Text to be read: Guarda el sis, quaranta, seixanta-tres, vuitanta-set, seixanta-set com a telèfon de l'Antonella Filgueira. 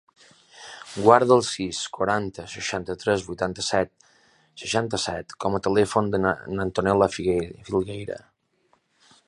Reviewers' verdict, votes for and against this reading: rejected, 0, 2